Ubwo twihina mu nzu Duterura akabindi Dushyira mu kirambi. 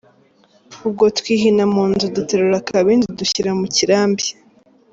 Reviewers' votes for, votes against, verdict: 2, 0, accepted